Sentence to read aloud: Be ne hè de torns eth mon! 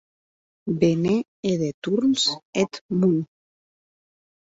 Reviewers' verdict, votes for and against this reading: rejected, 2, 2